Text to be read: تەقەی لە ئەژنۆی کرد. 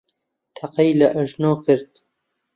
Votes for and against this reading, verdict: 1, 2, rejected